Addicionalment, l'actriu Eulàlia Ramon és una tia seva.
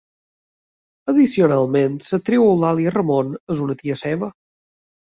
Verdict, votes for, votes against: rejected, 0, 2